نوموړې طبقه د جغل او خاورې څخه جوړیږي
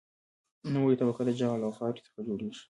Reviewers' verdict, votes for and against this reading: rejected, 1, 2